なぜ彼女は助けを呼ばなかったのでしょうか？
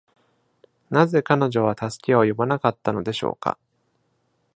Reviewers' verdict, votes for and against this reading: accepted, 2, 0